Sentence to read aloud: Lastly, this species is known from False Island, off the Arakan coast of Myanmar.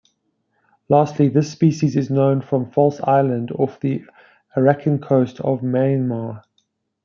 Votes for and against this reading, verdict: 0, 2, rejected